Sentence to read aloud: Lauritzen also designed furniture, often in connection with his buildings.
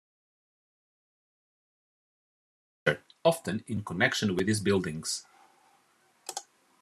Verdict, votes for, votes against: rejected, 0, 2